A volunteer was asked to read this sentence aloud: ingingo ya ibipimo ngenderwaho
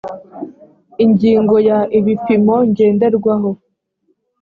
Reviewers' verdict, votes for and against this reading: accepted, 2, 0